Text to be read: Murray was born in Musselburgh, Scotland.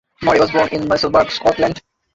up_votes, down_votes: 0, 2